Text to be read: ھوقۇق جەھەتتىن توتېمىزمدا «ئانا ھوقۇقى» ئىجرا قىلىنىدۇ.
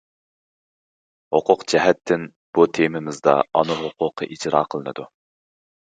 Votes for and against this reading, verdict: 0, 2, rejected